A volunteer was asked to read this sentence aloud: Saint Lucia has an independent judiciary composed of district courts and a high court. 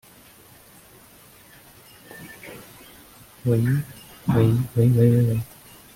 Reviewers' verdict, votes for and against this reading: rejected, 0, 2